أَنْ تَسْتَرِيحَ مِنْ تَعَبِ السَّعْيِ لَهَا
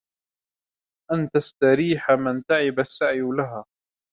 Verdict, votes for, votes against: rejected, 1, 2